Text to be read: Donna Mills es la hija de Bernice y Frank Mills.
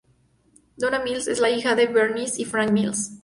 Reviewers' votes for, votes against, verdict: 2, 0, accepted